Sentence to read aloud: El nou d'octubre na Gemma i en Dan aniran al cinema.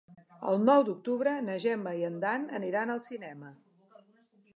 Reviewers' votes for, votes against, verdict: 4, 0, accepted